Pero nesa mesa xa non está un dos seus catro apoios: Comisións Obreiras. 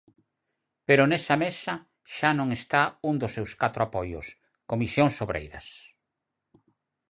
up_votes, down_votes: 4, 0